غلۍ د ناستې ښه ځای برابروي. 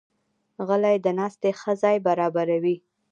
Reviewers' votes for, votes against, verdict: 2, 0, accepted